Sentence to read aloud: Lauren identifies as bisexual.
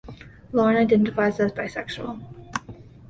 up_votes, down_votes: 2, 0